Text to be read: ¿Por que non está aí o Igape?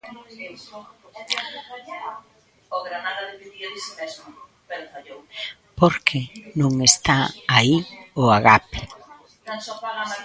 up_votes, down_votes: 0, 2